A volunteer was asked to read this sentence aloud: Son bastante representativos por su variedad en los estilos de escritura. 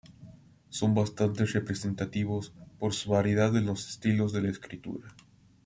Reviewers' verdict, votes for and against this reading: rejected, 0, 2